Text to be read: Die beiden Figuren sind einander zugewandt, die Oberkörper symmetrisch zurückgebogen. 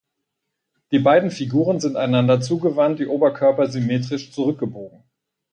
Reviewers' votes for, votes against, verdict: 6, 0, accepted